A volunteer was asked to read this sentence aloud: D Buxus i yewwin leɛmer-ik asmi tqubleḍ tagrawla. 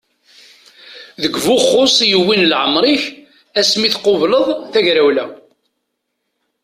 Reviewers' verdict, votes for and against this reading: accepted, 2, 1